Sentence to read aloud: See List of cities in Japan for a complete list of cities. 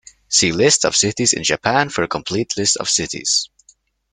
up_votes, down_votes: 2, 0